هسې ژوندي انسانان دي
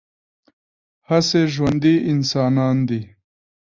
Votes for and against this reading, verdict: 2, 1, accepted